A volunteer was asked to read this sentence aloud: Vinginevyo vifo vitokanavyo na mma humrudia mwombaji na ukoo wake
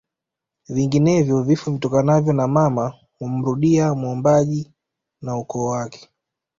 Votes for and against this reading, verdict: 2, 1, accepted